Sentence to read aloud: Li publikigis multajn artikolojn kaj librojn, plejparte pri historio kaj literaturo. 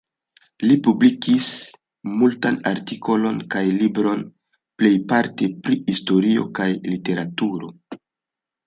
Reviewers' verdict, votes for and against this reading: rejected, 1, 2